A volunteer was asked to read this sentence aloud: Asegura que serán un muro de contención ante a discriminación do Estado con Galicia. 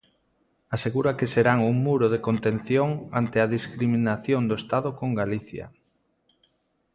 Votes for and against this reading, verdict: 2, 0, accepted